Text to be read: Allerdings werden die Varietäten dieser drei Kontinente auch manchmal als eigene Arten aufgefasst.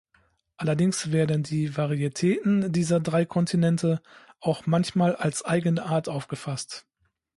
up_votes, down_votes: 0, 2